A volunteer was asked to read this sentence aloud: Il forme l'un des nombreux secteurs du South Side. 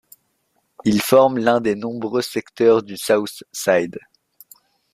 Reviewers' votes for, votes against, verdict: 0, 2, rejected